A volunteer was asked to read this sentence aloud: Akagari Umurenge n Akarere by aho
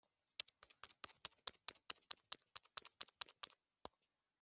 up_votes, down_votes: 0, 2